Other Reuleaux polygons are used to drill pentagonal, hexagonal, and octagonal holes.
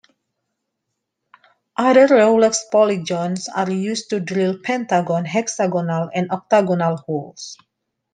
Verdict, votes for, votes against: rejected, 0, 2